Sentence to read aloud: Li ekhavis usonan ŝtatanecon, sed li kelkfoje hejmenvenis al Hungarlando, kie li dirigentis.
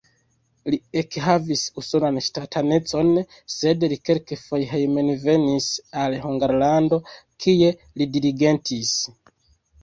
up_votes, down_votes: 0, 2